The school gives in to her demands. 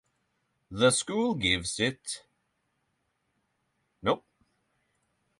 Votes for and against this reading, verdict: 0, 3, rejected